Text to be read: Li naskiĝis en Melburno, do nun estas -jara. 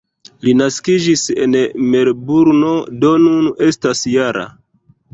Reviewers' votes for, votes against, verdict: 1, 2, rejected